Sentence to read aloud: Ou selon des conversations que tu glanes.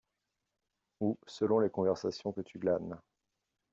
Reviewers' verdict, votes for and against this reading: rejected, 0, 2